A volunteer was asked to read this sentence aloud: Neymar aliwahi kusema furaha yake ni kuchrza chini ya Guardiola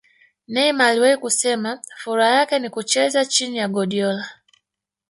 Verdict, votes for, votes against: rejected, 1, 2